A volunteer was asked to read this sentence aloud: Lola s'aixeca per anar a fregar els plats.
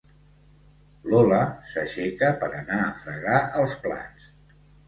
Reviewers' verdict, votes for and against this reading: accepted, 2, 0